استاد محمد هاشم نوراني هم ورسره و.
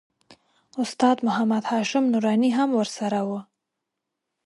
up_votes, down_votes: 2, 0